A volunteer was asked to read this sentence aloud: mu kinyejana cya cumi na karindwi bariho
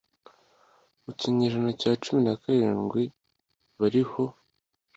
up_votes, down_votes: 2, 0